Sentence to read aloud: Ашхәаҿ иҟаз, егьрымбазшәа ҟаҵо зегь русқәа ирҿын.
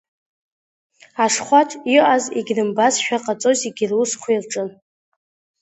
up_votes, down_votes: 1, 2